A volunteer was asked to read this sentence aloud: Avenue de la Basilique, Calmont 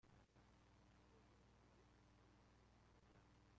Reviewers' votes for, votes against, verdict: 0, 2, rejected